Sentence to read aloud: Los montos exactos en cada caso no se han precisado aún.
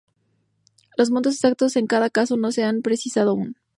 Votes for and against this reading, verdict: 2, 0, accepted